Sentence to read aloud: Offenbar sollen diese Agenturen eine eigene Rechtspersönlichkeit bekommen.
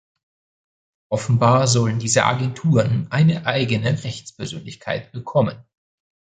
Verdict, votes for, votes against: accepted, 2, 0